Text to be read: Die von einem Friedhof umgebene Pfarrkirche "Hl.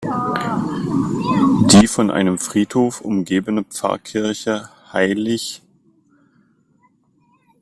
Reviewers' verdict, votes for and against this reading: rejected, 1, 2